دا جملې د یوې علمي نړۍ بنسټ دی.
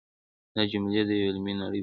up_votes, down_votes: 2, 0